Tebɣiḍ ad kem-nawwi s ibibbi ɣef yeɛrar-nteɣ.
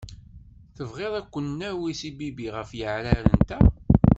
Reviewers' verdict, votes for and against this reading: rejected, 1, 2